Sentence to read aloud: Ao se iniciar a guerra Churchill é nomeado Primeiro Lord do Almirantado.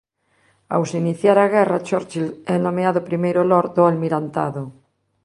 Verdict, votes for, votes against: accepted, 2, 0